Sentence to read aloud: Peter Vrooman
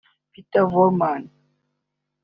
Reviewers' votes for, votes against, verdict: 2, 1, accepted